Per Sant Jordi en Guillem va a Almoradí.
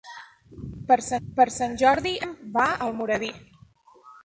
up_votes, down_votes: 0, 2